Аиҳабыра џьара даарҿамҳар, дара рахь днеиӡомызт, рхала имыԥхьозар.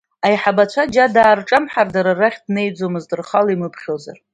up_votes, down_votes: 1, 2